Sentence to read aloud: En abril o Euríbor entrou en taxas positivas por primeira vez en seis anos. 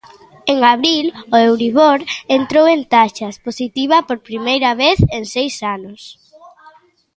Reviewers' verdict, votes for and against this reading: rejected, 0, 3